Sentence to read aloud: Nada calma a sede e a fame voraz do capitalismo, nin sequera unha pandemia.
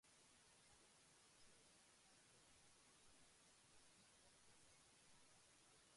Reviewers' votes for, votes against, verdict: 0, 2, rejected